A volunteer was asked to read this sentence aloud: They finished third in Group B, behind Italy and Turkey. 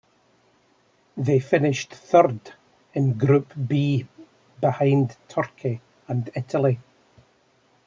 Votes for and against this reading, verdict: 1, 2, rejected